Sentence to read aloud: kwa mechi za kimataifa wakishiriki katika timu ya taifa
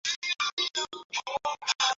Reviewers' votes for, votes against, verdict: 0, 2, rejected